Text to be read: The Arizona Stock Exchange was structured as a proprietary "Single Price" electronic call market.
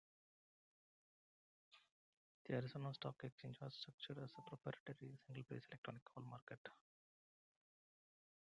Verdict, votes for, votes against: rejected, 0, 2